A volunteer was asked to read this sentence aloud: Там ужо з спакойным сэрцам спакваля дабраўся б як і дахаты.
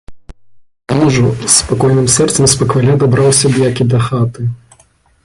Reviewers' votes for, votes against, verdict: 0, 2, rejected